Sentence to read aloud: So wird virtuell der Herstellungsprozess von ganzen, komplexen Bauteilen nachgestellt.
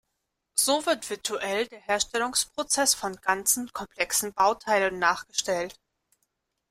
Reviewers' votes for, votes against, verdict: 2, 1, accepted